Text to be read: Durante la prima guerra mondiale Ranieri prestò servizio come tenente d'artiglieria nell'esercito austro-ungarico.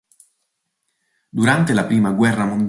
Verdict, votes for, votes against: rejected, 0, 2